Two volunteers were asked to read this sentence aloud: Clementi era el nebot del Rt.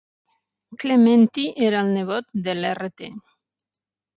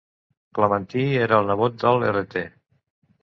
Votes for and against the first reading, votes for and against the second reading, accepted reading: 6, 0, 1, 2, first